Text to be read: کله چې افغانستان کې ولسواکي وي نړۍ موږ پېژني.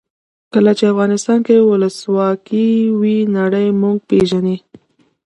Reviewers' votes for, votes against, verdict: 2, 0, accepted